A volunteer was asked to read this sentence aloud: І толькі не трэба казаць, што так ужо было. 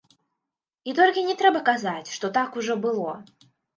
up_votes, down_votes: 2, 3